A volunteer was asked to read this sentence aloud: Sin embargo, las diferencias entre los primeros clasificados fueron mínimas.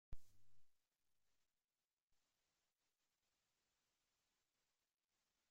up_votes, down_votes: 0, 2